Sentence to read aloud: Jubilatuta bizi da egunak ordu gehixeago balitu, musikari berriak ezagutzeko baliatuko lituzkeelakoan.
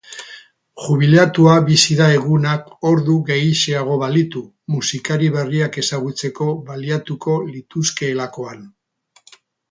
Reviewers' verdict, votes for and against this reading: accepted, 2, 0